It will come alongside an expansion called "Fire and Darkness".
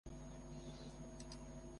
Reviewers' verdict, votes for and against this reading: rejected, 0, 2